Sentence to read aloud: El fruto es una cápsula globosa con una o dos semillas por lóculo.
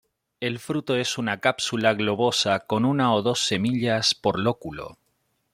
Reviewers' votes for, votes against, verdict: 2, 0, accepted